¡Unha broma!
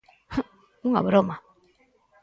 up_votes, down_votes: 4, 0